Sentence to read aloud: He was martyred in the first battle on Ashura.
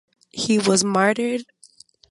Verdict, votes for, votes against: rejected, 0, 2